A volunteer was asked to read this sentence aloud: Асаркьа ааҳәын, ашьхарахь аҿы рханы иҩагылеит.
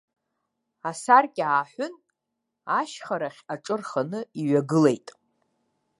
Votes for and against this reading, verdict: 2, 0, accepted